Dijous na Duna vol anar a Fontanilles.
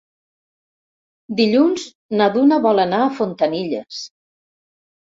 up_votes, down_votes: 1, 2